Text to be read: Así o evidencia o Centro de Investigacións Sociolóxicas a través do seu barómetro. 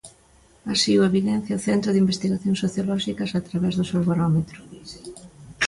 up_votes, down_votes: 2, 0